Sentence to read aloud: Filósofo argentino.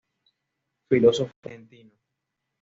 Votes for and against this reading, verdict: 2, 0, accepted